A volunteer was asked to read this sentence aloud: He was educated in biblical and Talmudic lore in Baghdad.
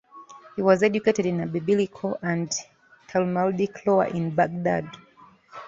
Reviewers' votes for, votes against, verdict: 0, 2, rejected